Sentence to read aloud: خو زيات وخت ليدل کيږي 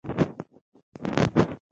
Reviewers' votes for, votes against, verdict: 0, 2, rejected